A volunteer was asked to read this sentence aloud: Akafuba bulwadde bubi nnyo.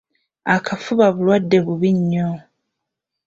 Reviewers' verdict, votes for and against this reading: accepted, 3, 0